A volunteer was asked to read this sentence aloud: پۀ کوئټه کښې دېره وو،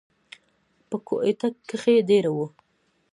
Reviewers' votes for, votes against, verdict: 2, 1, accepted